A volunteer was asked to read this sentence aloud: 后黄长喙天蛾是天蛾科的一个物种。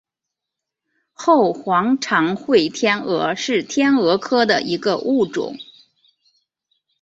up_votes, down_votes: 2, 1